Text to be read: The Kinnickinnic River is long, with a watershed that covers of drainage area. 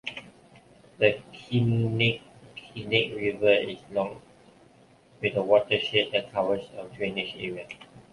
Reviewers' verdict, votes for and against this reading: rejected, 1, 2